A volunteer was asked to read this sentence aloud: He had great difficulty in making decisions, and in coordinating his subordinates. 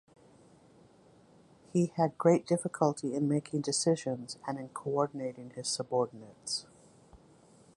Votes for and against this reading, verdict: 2, 0, accepted